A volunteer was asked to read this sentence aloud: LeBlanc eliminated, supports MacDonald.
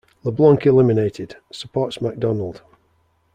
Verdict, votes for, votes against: accepted, 2, 0